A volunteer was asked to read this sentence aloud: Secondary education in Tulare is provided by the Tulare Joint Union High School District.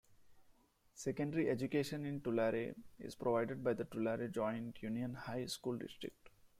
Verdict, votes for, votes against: accepted, 2, 1